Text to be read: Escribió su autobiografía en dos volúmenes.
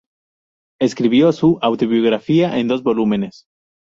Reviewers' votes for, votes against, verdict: 2, 0, accepted